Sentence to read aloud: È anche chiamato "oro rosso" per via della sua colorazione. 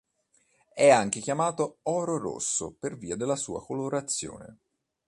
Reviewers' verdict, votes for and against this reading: accepted, 2, 0